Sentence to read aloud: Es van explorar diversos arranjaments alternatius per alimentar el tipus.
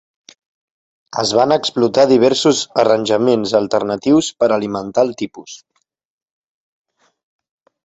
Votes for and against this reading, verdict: 1, 2, rejected